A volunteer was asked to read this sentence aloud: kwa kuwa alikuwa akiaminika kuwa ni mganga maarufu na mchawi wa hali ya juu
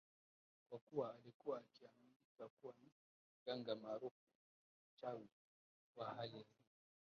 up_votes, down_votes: 0, 5